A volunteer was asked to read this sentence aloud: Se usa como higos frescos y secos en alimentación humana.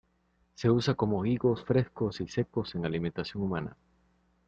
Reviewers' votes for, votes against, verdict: 2, 0, accepted